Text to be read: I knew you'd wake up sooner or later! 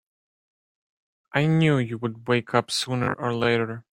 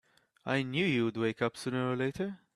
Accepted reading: second